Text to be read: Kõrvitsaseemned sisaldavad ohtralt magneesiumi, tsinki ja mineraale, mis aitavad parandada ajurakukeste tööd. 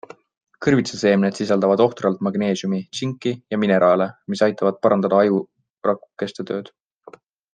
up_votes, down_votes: 2, 0